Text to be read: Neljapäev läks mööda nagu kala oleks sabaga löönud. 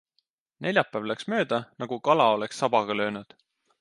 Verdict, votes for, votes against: accepted, 2, 0